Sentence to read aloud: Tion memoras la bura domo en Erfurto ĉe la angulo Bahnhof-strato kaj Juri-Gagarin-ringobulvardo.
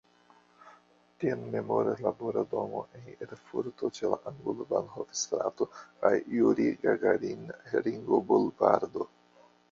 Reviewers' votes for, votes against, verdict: 0, 2, rejected